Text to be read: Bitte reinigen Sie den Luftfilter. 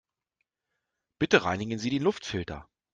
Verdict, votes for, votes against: rejected, 0, 2